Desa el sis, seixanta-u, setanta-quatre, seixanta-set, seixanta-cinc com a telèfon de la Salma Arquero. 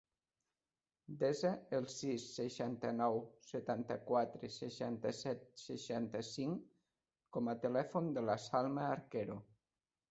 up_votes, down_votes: 0, 2